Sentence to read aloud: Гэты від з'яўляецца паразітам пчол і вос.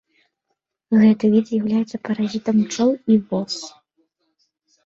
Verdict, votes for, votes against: accepted, 2, 0